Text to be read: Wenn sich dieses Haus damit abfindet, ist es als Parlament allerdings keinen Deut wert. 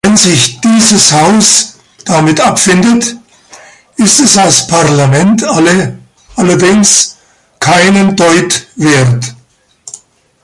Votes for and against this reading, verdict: 0, 2, rejected